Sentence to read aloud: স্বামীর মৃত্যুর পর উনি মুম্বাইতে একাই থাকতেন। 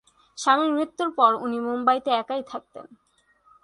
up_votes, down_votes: 4, 1